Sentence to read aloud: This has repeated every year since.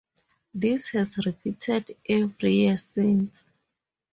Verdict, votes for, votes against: rejected, 2, 2